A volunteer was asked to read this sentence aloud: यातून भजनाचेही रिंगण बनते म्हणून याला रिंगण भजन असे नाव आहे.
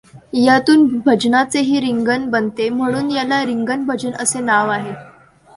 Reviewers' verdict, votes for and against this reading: accepted, 2, 0